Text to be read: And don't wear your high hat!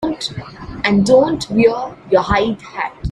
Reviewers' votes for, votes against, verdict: 0, 2, rejected